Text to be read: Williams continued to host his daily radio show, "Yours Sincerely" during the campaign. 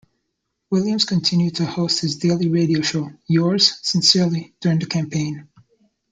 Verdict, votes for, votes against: accepted, 2, 0